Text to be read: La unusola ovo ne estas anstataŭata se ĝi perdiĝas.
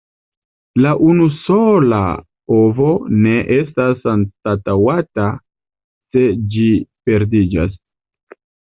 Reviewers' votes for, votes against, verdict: 1, 2, rejected